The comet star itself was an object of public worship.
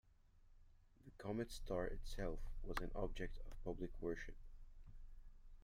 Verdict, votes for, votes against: rejected, 0, 2